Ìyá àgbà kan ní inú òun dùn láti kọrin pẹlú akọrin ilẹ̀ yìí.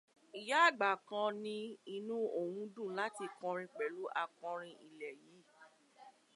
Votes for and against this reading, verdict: 0, 2, rejected